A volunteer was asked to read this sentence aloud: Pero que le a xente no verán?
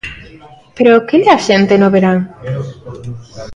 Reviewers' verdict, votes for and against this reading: rejected, 1, 2